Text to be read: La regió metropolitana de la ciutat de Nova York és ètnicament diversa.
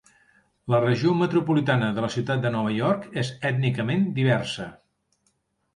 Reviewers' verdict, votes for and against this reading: accepted, 3, 0